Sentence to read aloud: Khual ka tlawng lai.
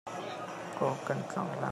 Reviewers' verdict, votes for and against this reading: rejected, 0, 2